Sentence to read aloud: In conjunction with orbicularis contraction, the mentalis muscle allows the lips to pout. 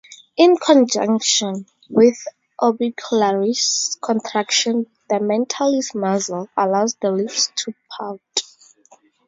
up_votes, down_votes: 0, 2